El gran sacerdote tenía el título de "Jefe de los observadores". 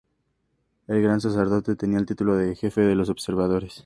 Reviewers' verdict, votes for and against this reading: accepted, 2, 0